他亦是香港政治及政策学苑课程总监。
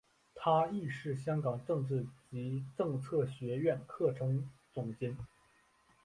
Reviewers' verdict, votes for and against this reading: accepted, 2, 0